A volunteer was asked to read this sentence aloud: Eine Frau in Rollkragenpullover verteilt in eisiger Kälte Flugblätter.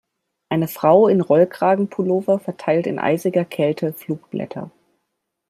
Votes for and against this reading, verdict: 2, 0, accepted